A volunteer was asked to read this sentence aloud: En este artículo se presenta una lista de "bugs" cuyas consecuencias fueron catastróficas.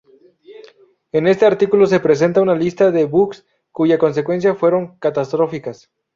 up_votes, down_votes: 0, 2